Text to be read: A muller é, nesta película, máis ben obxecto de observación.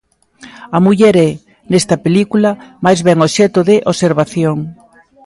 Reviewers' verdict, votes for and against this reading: accepted, 2, 0